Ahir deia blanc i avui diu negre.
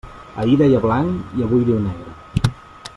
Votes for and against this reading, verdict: 3, 0, accepted